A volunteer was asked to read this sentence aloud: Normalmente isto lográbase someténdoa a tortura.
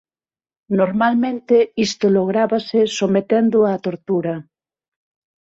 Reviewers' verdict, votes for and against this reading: accepted, 6, 0